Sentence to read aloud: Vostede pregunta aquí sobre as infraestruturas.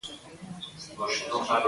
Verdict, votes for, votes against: rejected, 0, 2